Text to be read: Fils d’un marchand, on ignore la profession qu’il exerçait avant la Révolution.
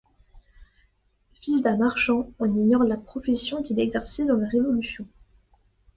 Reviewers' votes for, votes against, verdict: 0, 2, rejected